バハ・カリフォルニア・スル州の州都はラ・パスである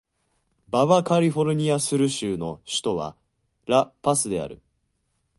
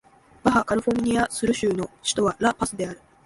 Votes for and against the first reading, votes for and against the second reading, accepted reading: 0, 2, 2, 0, second